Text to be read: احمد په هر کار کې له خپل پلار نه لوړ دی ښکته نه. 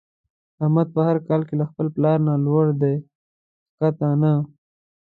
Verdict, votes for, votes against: accepted, 2, 0